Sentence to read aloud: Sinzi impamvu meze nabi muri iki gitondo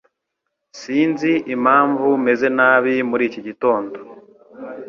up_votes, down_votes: 2, 0